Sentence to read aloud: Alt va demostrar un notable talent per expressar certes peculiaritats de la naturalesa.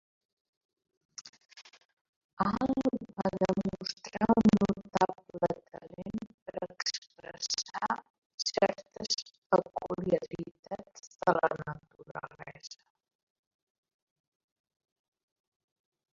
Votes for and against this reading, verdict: 0, 2, rejected